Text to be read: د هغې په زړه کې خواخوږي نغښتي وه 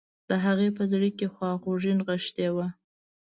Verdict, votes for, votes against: accepted, 2, 0